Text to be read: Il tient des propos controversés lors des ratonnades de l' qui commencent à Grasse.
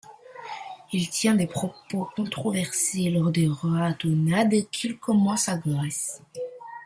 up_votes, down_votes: 0, 2